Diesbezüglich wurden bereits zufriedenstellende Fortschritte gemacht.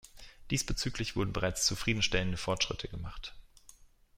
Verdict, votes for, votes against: accepted, 2, 0